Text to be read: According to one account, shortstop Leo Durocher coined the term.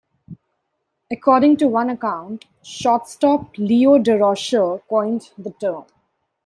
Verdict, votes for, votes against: accepted, 2, 0